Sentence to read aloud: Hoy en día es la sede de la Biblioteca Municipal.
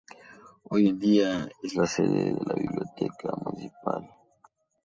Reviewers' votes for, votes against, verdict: 2, 0, accepted